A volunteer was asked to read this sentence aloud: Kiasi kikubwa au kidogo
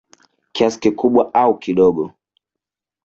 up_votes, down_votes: 0, 2